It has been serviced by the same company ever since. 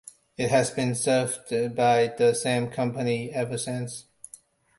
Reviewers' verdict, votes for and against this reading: rejected, 0, 2